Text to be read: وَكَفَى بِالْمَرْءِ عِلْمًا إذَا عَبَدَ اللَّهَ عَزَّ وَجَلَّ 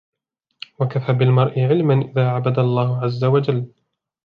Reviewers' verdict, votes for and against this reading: accepted, 2, 0